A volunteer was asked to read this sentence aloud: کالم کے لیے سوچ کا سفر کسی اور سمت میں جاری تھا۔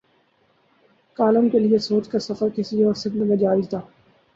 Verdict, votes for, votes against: accepted, 30, 0